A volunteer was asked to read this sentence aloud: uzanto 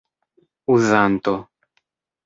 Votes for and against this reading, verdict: 2, 0, accepted